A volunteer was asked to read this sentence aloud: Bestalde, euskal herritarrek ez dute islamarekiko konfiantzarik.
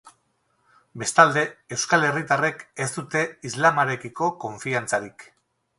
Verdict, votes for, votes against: rejected, 2, 2